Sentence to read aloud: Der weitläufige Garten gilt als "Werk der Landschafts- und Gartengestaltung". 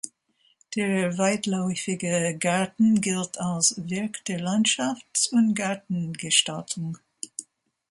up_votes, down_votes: 2, 0